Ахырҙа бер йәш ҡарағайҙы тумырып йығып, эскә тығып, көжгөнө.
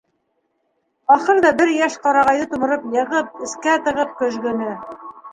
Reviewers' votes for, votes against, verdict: 1, 2, rejected